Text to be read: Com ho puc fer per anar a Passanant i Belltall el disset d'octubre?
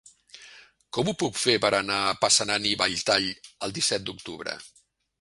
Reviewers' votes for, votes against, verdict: 0, 2, rejected